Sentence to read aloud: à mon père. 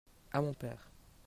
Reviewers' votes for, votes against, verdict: 2, 0, accepted